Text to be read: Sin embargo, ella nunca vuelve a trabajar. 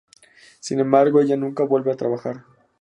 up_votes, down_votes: 4, 0